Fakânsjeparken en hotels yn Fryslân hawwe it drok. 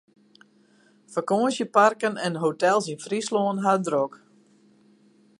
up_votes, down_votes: 2, 2